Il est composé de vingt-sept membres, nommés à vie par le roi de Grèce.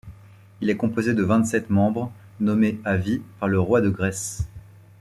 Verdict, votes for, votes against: accepted, 2, 0